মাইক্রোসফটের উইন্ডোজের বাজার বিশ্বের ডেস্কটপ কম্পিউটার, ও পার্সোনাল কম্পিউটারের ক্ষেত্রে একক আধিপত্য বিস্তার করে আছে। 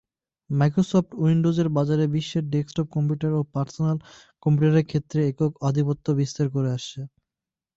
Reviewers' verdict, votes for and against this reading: rejected, 0, 2